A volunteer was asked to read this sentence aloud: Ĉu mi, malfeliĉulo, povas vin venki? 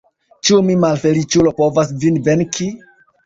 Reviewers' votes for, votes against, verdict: 2, 0, accepted